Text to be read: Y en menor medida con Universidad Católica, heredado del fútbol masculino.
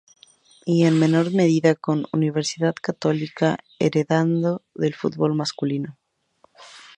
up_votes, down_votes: 0, 2